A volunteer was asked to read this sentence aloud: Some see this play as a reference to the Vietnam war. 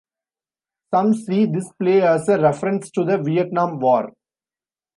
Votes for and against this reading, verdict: 2, 0, accepted